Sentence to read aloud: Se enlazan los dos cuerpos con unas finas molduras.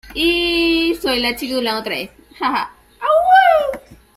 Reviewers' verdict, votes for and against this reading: rejected, 0, 2